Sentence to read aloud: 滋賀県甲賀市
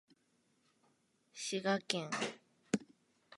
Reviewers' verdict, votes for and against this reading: rejected, 0, 2